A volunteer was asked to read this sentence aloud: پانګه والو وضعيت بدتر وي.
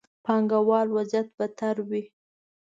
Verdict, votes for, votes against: rejected, 1, 2